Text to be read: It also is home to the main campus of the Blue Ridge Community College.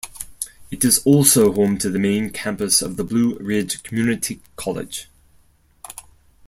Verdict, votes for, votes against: rejected, 0, 4